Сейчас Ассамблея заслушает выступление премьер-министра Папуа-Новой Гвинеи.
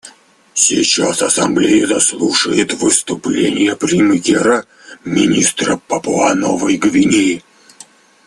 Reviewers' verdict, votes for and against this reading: rejected, 0, 2